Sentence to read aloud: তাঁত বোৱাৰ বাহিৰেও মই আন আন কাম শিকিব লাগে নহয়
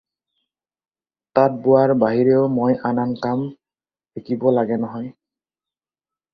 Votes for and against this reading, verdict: 4, 0, accepted